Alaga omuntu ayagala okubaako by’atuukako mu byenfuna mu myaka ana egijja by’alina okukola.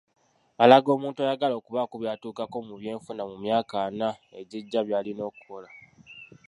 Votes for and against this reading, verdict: 1, 2, rejected